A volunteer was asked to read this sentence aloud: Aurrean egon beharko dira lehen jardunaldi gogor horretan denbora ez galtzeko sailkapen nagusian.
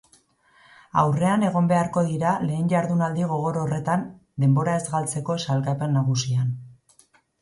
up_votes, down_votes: 2, 0